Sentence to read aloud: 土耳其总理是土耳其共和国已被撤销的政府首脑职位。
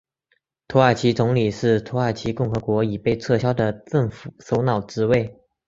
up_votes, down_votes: 3, 0